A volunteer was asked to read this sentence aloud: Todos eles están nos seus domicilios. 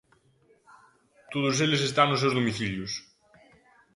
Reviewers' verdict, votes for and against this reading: rejected, 1, 2